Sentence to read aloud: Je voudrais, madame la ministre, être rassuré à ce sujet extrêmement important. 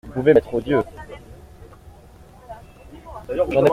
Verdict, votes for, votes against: rejected, 0, 2